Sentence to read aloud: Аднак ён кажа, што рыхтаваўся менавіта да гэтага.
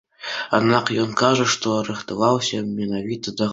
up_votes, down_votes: 1, 2